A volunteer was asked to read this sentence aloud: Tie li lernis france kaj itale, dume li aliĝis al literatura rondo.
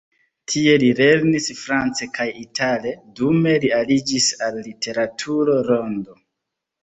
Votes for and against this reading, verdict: 2, 0, accepted